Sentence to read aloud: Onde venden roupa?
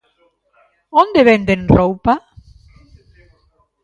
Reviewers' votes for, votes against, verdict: 2, 1, accepted